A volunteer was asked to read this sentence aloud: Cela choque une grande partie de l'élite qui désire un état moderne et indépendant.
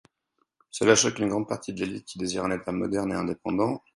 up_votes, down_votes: 4, 0